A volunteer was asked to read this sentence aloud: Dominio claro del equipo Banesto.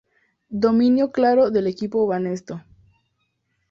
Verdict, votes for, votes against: accepted, 2, 0